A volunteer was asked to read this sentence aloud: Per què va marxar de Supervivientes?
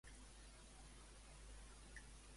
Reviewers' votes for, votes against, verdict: 0, 2, rejected